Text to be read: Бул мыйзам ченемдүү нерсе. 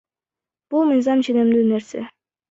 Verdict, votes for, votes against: rejected, 1, 2